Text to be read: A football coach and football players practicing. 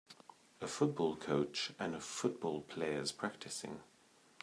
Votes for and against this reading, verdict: 1, 2, rejected